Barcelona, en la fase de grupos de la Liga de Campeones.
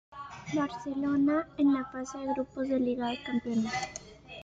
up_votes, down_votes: 0, 2